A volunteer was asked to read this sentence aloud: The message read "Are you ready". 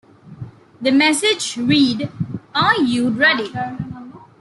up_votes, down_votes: 1, 2